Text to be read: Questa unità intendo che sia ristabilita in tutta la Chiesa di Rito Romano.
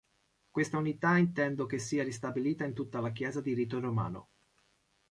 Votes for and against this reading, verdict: 2, 0, accepted